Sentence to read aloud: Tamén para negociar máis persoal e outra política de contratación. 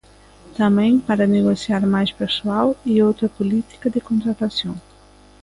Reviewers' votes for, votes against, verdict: 2, 0, accepted